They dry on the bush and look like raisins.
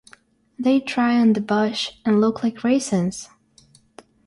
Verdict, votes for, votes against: accepted, 3, 0